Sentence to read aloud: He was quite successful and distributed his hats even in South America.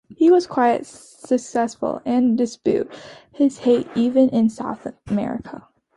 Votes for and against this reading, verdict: 1, 2, rejected